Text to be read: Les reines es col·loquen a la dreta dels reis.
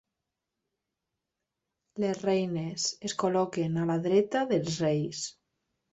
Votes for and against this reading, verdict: 1, 2, rejected